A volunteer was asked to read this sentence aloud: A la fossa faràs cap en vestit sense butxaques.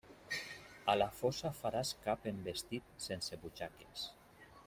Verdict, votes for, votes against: rejected, 0, 2